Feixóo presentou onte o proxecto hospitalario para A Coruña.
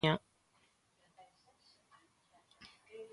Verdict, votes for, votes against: rejected, 0, 2